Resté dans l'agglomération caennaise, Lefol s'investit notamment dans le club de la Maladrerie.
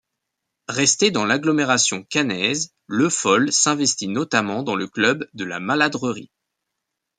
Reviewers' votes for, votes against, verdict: 2, 0, accepted